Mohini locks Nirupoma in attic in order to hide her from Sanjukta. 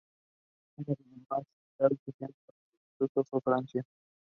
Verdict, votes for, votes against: rejected, 0, 2